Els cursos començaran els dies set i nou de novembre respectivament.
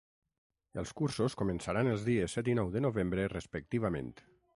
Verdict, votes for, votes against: rejected, 0, 3